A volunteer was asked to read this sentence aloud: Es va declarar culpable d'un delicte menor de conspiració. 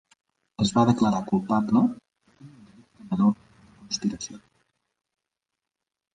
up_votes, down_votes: 0, 2